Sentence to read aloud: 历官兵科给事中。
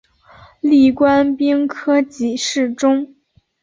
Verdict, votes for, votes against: accepted, 2, 0